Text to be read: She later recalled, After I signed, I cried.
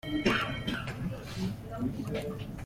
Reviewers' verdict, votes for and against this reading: rejected, 0, 2